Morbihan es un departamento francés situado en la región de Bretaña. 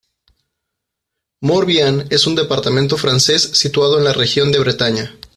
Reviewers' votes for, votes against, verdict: 2, 0, accepted